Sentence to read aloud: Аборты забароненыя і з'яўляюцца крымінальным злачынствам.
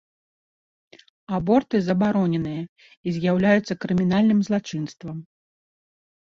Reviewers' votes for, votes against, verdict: 2, 0, accepted